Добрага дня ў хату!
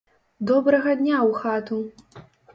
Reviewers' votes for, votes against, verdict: 2, 0, accepted